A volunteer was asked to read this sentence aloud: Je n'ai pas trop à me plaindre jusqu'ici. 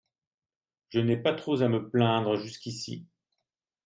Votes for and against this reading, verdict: 0, 2, rejected